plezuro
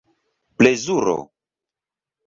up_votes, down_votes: 2, 0